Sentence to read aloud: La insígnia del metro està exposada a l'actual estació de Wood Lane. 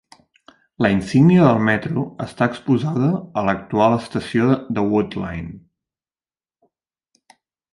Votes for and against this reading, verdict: 2, 0, accepted